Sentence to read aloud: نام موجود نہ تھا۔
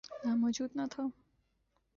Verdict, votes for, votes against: rejected, 0, 2